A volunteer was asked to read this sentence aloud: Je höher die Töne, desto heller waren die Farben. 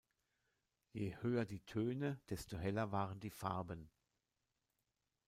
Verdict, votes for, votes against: rejected, 1, 2